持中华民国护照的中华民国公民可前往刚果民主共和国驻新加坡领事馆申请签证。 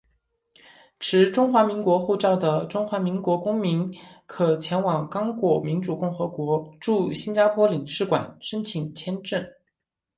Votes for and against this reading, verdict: 2, 1, accepted